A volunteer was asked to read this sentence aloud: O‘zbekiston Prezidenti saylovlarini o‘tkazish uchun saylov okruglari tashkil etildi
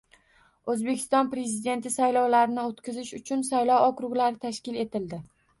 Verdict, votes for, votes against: rejected, 1, 2